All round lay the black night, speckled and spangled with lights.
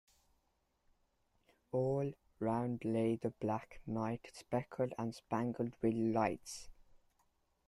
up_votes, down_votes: 1, 2